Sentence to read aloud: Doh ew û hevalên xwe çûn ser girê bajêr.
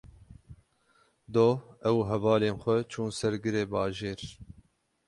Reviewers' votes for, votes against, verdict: 0, 6, rejected